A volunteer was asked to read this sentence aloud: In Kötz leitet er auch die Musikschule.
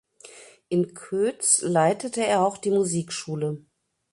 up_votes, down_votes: 0, 2